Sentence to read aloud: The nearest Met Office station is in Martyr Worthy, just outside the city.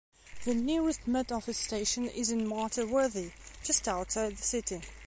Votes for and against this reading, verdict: 2, 0, accepted